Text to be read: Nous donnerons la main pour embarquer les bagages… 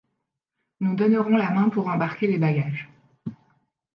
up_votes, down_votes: 3, 1